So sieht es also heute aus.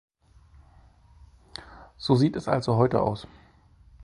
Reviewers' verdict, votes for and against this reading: accepted, 3, 0